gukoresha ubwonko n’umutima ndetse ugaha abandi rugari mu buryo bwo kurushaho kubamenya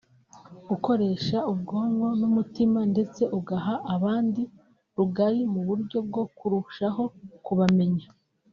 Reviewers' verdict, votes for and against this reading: accepted, 3, 0